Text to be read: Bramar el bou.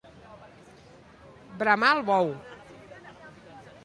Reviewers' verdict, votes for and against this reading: accepted, 2, 0